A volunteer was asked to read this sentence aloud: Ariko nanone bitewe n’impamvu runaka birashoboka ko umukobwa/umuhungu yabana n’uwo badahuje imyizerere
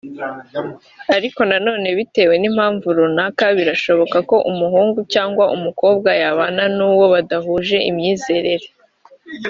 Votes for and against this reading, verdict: 2, 0, accepted